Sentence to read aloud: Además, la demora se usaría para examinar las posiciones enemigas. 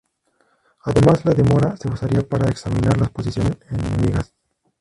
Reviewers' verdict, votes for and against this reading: accepted, 2, 0